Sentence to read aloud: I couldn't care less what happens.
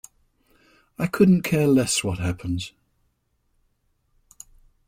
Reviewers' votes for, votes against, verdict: 2, 1, accepted